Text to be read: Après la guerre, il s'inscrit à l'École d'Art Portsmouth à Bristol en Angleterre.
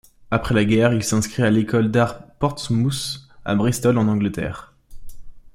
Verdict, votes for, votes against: accepted, 2, 0